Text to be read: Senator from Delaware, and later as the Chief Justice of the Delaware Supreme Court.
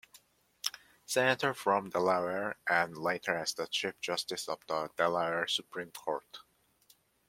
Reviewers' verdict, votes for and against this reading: accepted, 2, 0